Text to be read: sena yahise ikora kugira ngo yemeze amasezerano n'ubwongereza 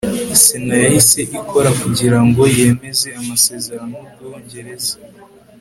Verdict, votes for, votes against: accepted, 2, 0